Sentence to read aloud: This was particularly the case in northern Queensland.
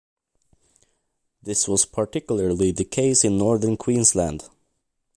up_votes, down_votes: 2, 0